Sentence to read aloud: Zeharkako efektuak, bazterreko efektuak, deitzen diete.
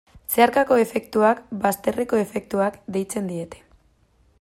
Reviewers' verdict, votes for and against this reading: accepted, 2, 0